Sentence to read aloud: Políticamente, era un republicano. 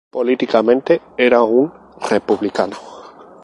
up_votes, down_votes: 2, 0